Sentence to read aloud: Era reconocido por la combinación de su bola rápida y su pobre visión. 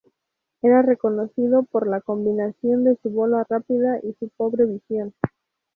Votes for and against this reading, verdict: 2, 2, rejected